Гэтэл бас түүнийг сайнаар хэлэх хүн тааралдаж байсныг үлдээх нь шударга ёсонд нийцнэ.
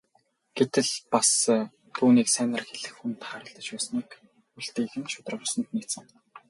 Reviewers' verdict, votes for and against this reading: rejected, 0, 2